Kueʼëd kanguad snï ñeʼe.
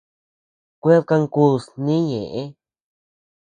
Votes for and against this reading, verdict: 0, 2, rejected